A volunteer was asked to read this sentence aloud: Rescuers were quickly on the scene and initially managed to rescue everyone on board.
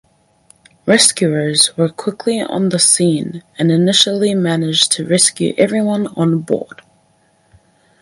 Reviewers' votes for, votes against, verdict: 4, 0, accepted